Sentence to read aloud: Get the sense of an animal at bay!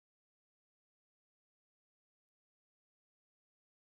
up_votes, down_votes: 0, 3